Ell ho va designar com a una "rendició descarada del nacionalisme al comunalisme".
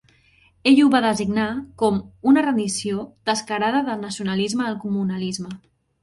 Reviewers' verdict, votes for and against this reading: rejected, 1, 2